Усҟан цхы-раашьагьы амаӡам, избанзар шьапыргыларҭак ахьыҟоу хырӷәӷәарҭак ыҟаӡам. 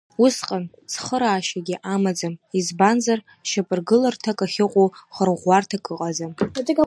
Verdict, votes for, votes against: rejected, 1, 2